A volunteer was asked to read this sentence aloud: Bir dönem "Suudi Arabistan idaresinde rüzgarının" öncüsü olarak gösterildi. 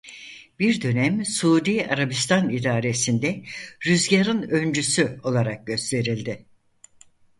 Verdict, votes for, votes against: rejected, 0, 4